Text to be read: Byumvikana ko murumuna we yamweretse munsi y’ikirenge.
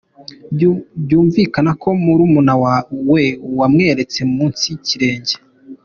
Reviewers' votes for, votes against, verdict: 2, 1, accepted